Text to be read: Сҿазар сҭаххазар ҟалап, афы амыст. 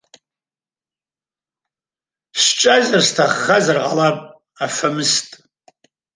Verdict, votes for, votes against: rejected, 1, 2